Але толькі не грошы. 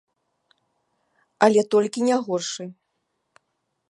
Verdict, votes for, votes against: rejected, 1, 2